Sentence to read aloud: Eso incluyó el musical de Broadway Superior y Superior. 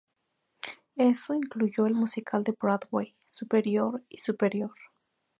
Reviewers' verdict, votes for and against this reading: accepted, 2, 0